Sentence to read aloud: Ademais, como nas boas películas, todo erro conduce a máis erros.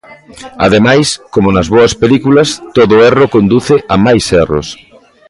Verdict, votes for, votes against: accepted, 2, 0